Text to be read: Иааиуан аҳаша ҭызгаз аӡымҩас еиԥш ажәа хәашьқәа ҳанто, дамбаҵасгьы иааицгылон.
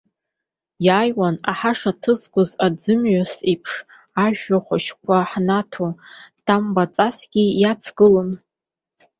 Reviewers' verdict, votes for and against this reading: rejected, 0, 3